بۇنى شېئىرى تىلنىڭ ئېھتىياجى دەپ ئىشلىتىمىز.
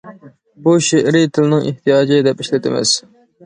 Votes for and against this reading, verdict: 1, 2, rejected